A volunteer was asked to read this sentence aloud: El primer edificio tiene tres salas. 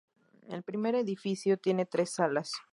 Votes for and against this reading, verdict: 4, 0, accepted